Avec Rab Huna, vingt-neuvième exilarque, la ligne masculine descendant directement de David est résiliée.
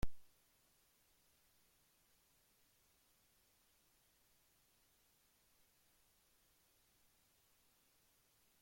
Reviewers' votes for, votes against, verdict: 0, 2, rejected